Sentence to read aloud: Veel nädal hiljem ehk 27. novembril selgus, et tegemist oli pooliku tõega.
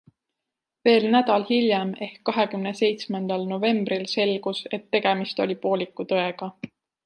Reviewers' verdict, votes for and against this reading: rejected, 0, 2